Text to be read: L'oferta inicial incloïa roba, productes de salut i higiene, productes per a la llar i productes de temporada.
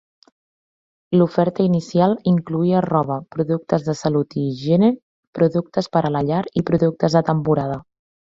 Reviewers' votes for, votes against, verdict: 3, 0, accepted